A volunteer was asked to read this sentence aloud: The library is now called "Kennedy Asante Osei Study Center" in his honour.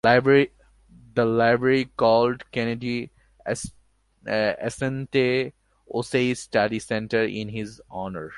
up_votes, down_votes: 0, 2